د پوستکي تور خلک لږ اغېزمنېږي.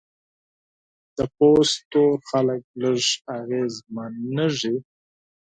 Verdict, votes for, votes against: rejected, 2, 4